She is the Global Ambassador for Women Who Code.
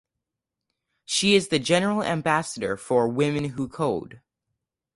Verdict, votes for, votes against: rejected, 0, 4